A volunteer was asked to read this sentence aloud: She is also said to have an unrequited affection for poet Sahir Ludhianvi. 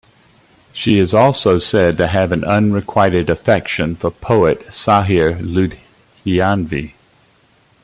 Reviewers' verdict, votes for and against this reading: rejected, 1, 2